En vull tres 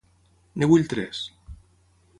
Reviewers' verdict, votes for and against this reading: rejected, 3, 6